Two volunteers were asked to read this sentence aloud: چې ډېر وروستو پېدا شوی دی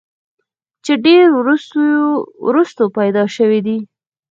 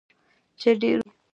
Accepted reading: first